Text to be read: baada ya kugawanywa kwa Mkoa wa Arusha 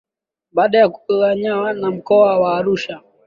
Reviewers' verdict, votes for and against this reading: rejected, 0, 2